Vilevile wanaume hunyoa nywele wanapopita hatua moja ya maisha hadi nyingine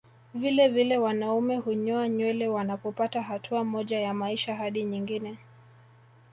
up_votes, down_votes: 0, 2